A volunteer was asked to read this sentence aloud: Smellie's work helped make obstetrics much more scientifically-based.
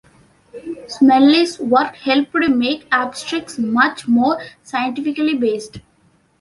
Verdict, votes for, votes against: rejected, 1, 2